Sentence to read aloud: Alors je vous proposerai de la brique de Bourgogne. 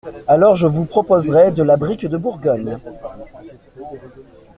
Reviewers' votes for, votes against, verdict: 2, 0, accepted